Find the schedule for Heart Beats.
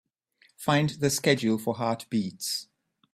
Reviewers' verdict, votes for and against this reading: accepted, 2, 0